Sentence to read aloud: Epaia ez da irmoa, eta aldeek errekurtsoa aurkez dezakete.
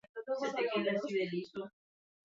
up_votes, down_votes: 0, 4